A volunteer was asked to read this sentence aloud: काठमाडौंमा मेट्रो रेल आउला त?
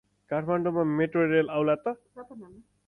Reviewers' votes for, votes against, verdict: 2, 2, rejected